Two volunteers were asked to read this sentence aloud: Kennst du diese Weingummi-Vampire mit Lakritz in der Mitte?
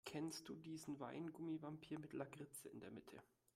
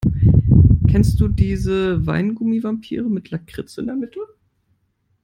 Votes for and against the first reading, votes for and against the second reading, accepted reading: 0, 2, 2, 0, second